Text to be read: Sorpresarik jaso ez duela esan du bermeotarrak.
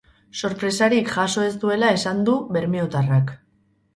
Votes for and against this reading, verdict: 0, 2, rejected